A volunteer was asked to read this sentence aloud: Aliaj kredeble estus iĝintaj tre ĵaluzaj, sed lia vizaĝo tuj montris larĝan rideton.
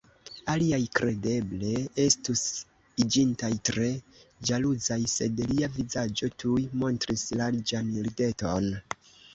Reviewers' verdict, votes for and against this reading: accepted, 2, 1